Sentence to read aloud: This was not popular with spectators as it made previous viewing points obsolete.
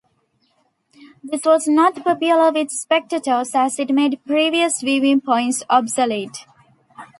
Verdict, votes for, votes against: accepted, 2, 0